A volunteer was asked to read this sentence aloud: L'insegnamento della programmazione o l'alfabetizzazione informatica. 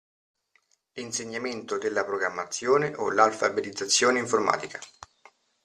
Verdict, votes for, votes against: accepted, 2, 0